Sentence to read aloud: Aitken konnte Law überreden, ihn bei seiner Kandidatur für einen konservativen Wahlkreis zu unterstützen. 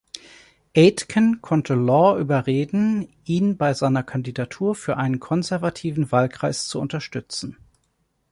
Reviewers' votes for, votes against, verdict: 3, 0, accepted